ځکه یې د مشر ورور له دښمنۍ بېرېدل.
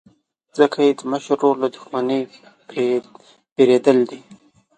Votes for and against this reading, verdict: 2, 0, accepted